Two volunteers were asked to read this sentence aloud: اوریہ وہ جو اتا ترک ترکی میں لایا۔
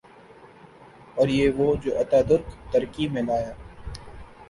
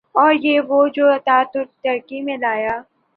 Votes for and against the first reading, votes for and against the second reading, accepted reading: 2, 0, 2, 2, first